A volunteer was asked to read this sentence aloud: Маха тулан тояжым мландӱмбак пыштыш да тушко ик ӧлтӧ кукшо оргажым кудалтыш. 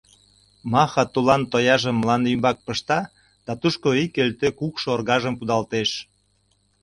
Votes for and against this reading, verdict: 1, 2, rejected